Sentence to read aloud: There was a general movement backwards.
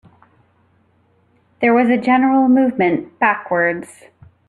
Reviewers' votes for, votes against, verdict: 3, 0, accepted